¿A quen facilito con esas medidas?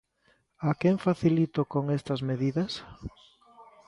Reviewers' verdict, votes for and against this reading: rejected, 0, 2